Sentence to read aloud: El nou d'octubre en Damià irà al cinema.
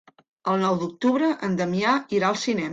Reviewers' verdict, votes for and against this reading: rejected, 1, 2